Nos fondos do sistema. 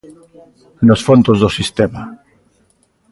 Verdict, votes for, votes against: accepted, 2, 1